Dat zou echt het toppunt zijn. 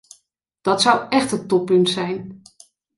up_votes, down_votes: 2, 0